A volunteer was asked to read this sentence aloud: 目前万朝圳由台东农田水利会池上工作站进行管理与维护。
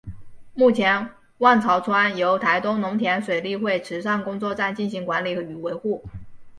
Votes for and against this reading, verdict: 3, 0, accepted